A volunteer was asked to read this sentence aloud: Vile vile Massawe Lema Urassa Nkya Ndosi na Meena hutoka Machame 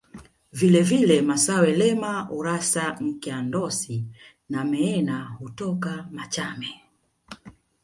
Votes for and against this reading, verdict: 2, 1, accepted